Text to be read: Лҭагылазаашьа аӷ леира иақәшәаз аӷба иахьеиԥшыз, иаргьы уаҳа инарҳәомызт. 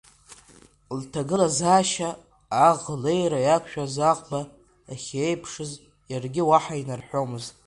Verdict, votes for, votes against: rejected, 0, 2